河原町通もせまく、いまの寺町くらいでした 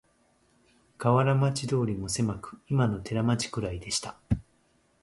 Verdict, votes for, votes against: accepted, 2, 0